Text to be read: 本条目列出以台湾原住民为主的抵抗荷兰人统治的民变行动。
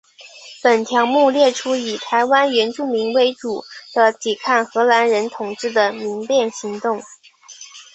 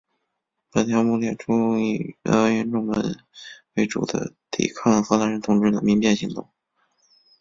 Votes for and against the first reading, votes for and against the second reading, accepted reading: 3, 0, 1, 2, first